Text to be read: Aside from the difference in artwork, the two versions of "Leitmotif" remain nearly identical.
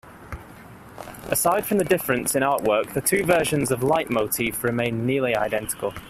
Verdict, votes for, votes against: accepted, 2, 0